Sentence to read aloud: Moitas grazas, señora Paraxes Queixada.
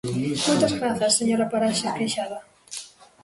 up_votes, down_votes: 0, 2